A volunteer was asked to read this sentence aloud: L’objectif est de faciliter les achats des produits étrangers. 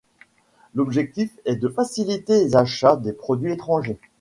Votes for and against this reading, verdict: 3, 0, accepted